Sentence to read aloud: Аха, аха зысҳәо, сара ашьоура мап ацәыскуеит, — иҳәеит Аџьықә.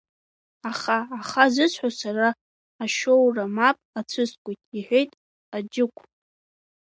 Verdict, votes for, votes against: rejected, 0, 2